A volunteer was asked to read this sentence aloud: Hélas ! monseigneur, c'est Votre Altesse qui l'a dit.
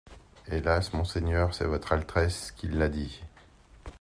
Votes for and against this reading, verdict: 0, 2, rejected